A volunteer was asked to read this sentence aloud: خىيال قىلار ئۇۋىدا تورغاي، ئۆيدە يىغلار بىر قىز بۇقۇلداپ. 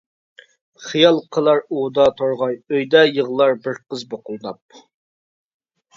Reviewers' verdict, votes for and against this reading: accepted, 2, 0